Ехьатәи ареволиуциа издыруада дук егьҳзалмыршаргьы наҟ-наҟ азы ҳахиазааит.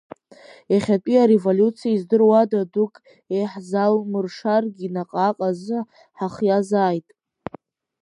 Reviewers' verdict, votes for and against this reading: rejected, 1, 2